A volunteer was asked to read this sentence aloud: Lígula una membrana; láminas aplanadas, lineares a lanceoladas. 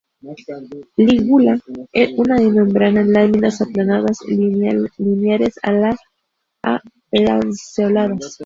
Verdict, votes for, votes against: rejected, 0, 2